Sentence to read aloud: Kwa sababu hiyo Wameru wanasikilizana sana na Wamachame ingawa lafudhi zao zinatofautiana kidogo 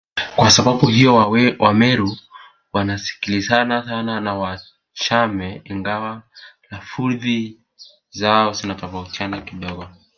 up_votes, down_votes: 1, 2